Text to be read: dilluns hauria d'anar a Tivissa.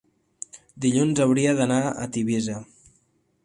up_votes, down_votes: 2, 0